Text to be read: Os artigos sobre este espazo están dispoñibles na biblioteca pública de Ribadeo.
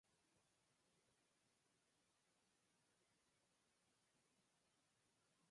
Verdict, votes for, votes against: rejected, 0, 4